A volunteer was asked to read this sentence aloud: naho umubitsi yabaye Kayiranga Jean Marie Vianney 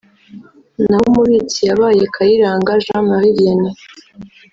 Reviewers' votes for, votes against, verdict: 0, 2, rejected